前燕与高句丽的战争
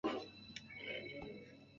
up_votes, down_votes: 0, 3